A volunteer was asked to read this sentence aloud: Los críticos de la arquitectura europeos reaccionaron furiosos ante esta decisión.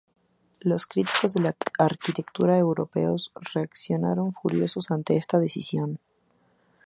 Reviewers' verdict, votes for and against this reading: rejected, 0, 2